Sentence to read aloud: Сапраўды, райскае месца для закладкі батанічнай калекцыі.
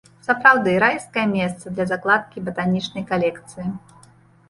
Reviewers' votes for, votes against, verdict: 2, 0, accepted